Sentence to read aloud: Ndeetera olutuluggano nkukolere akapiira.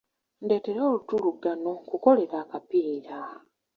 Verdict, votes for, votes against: accepted, 2, 0